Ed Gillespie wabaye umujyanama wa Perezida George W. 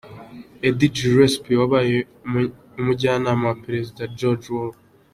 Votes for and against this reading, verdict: 1, 2, rejected